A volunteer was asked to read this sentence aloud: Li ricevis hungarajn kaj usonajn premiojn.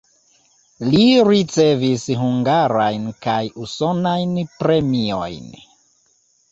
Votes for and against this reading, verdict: 2, 0, accepted